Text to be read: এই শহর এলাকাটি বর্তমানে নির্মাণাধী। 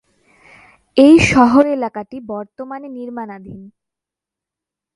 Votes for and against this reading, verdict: 2, 0, accepted